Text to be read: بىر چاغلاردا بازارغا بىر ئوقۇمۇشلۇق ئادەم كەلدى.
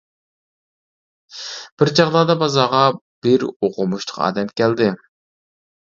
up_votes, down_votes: 2, 1